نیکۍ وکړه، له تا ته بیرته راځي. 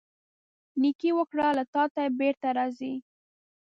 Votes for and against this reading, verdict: 1, 2, rejected